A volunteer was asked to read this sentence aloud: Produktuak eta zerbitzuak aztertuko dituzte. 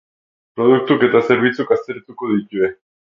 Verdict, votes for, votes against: rejected, 0, 4